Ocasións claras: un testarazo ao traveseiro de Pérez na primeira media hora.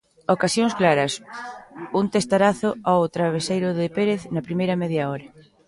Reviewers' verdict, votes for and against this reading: rejected, 0, 2